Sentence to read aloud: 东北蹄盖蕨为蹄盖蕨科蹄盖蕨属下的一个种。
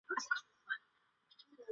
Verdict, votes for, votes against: rejected, 2, 3